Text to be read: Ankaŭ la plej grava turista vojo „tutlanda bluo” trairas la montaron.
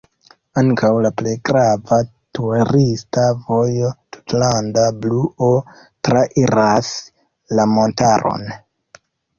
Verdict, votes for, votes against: accepted, 2, 0